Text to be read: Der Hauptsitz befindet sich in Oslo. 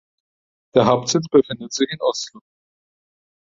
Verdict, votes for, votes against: rejected, 2, 4